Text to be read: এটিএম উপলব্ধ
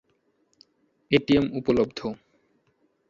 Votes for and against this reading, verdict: 2, 0, accepted